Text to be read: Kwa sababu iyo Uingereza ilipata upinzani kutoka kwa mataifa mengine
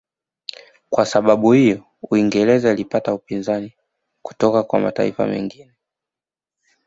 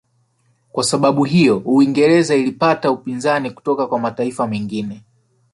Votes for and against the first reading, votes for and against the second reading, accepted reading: 3, 0, 0, 2, first